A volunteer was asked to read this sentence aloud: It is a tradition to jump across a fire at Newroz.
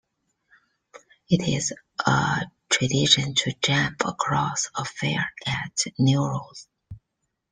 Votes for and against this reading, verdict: 0, 2, rejected